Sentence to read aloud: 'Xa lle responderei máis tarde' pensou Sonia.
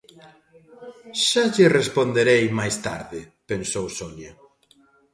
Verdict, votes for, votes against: accepted, 2, 0